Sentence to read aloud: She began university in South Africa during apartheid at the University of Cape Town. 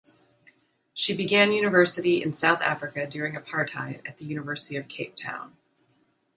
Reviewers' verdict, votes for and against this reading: accepted, 2, 0